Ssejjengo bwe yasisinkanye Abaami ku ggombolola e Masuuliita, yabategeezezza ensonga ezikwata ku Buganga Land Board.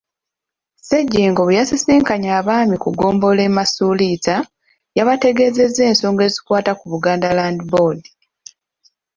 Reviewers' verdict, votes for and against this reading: rejected, 1, 2